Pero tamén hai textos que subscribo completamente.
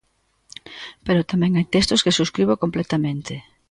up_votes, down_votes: 2, 0